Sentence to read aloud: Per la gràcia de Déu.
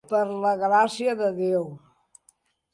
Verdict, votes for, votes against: accepted, 3, 0